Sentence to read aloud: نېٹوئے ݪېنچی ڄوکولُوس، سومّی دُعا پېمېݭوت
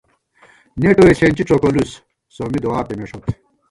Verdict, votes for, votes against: rejected, 1, 2